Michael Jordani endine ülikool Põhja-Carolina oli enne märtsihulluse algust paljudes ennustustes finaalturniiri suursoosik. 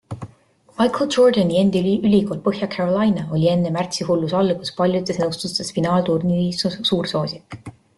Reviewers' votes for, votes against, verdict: 1, 2, rejected